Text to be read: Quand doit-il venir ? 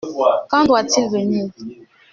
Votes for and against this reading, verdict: 2, 0, accepted